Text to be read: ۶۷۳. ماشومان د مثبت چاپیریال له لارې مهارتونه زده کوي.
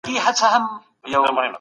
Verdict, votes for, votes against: rejected, 0, 2